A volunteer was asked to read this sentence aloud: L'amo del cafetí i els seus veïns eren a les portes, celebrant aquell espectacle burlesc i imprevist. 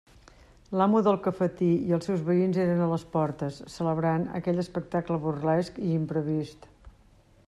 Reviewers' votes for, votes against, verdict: 3, 0, accepted